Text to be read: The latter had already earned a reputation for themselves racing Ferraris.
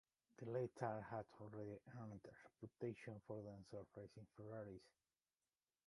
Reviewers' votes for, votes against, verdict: 1, 2, rejected